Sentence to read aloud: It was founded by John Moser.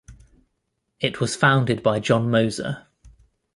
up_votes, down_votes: 1, 2